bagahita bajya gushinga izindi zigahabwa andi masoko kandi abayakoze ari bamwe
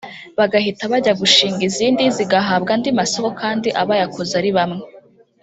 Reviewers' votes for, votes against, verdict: 1, 2, rejected